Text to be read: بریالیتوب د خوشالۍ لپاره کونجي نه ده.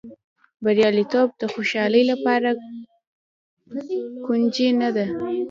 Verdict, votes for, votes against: rejected, 1, 2